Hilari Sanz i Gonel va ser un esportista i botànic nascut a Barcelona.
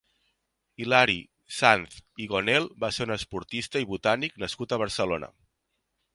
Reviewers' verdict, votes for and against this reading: accepted, 2, 1